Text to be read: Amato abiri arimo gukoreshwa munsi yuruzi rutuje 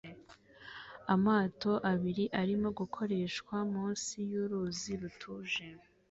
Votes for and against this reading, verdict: 2, 0, accepted